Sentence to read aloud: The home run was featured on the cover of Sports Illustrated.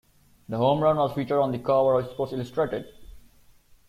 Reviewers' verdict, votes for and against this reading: accepted, 2, 1